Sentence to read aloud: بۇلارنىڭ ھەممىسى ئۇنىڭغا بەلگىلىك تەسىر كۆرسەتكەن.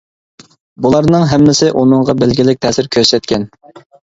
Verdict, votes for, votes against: accepted, 2, 0